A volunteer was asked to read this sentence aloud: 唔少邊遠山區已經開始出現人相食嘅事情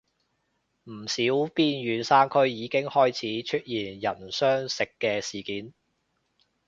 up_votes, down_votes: 2, 0